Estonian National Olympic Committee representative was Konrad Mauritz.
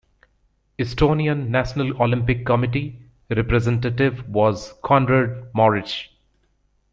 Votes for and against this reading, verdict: 2, 0, accepted